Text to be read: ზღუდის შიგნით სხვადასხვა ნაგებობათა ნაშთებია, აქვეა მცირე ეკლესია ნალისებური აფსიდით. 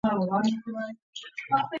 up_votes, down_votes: 0, 2